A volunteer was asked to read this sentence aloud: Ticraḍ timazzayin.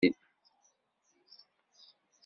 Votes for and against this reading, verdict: 1, 2, rejected